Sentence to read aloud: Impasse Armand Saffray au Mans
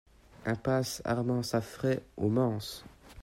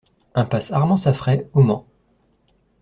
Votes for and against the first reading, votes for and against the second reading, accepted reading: 1, 2, 2, 0, second